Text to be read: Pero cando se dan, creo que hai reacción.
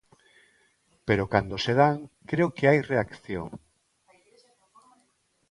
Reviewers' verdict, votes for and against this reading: accepted, 2, 1